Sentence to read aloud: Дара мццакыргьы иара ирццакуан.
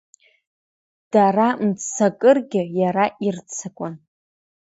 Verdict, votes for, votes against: accepted, 2, 0